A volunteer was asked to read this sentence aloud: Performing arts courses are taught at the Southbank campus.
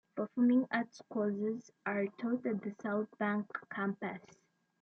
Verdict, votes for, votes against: rejected, 0, 2